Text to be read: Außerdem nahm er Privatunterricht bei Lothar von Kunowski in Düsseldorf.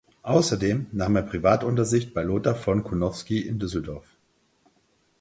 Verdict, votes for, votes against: rejected, 2, 4